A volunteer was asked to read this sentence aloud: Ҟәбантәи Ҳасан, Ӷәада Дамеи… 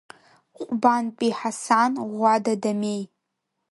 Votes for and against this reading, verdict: 3, 0, accepted